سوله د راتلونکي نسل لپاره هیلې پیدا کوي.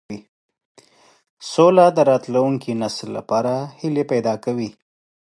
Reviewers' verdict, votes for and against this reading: accepted, 2, 0